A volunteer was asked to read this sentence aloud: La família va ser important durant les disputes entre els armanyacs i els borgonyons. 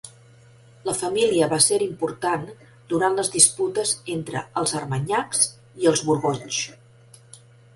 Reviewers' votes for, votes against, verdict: 1, 2, rejected